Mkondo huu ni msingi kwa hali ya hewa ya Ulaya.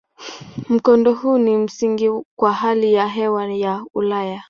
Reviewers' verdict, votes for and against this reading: accepted, 2, 0